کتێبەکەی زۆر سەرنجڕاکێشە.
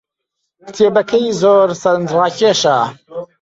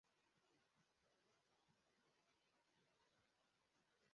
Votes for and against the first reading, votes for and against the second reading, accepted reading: 6, 3, 0, 2, first